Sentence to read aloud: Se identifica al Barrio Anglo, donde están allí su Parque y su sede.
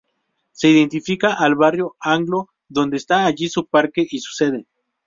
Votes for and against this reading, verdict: 2, 2, rejected